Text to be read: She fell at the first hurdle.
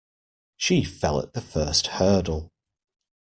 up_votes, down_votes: 2, 0